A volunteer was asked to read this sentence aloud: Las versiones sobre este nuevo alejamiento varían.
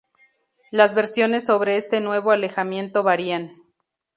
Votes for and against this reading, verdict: 2, 0, accepted